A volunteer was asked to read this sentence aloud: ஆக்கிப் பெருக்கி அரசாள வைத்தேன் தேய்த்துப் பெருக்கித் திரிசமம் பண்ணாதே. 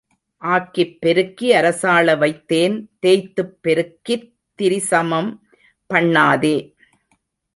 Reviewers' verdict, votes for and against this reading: rejected, 1, 2